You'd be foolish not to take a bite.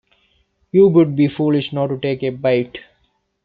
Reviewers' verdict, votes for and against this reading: rejected, 1, 2